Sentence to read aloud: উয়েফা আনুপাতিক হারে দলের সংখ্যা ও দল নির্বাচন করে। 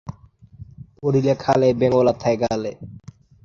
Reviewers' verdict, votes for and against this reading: rejected, 1, 2